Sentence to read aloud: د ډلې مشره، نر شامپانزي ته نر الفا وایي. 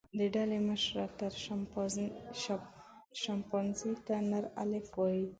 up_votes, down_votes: 0, 2